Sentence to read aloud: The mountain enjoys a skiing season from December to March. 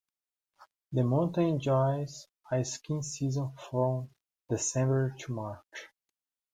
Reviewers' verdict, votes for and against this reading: accepted, 2, 1